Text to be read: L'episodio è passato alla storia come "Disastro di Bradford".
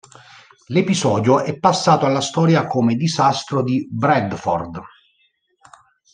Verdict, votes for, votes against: accepted, 2, 0